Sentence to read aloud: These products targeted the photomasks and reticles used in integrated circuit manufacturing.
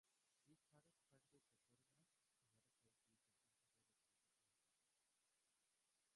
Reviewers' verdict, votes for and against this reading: rejected, 0, 2